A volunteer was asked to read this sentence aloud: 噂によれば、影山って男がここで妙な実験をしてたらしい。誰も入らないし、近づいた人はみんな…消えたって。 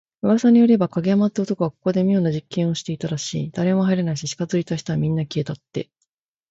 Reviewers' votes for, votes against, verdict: 2, 0, accepted